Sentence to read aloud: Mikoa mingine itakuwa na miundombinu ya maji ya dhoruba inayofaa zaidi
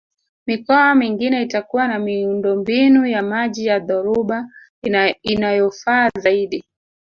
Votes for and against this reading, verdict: 0, 2, rejected